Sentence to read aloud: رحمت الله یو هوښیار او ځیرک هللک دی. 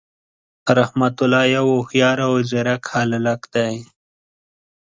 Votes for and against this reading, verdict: 1, 2, rejected